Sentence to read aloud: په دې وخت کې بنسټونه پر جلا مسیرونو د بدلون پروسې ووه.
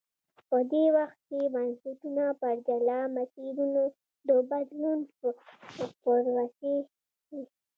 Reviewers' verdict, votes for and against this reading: rejected, 0, 2